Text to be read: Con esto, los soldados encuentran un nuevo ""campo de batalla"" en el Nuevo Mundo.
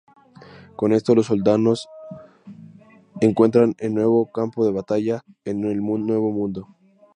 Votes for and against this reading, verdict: 0, 2, rejected